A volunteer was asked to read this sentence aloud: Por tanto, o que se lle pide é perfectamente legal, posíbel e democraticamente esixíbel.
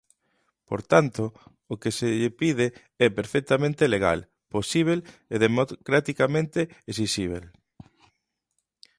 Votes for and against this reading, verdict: 0, 2, rejected